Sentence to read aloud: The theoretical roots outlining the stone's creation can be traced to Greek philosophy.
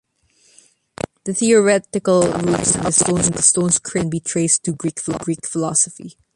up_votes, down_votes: 0, 2